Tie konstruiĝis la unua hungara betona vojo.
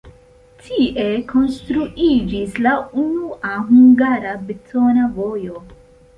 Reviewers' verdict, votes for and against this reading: accepted, 2, 0